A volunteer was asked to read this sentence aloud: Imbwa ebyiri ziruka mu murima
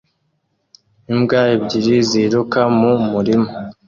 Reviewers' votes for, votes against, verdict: 2, 0, accepted